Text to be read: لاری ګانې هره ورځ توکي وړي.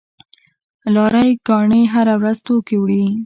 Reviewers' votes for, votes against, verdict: 2, 0, accepted